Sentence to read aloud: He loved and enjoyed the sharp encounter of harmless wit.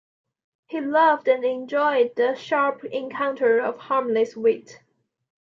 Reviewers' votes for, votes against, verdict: 2, 0, accepted